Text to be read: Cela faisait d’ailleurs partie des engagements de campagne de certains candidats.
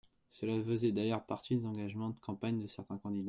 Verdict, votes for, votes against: rejected, 1, 2